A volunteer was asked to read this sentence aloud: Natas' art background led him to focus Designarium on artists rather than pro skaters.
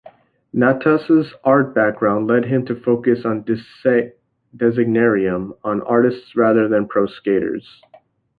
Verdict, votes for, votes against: rejected, 1, 3